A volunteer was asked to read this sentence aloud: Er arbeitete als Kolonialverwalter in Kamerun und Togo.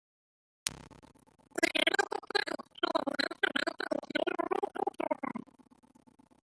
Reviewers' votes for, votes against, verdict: 0, 2, rejected